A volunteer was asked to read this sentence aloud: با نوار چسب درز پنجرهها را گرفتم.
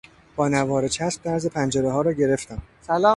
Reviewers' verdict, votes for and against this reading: rejected, 0, 2